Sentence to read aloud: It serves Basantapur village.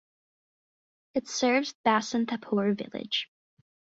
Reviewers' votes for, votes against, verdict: 2, 2, rejected